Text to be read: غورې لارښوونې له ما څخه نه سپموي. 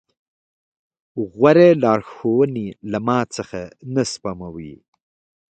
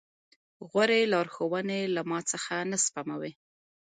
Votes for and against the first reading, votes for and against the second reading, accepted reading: 2, 0, 1, 2, first